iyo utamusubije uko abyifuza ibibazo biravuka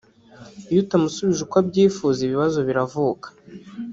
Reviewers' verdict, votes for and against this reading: rejected, 0, 2